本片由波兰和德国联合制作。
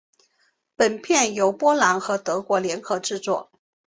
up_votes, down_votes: 3, 0